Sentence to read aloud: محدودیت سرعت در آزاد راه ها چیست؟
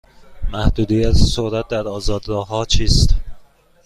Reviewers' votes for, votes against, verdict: 2, 0, accepted